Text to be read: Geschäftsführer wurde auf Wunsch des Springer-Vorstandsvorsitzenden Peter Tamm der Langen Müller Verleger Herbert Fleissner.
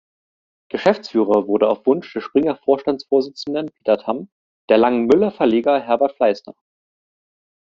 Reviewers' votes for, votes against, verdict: 2, 0, accepted